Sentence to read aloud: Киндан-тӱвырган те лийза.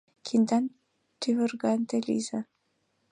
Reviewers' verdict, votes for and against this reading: accepted, 3, 2